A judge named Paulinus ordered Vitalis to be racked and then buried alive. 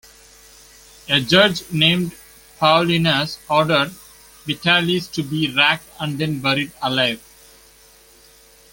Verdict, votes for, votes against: accepted, 2, 0